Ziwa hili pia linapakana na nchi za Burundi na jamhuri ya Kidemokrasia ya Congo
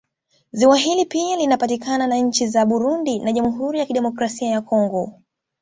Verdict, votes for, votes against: accepted, 2, 0